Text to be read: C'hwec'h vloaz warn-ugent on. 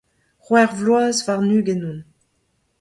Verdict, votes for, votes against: accepted, 2, 0